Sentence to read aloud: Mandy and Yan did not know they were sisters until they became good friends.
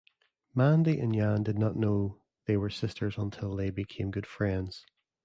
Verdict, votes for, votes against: accepted, 2, 0